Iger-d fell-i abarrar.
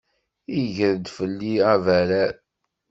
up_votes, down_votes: 2, 0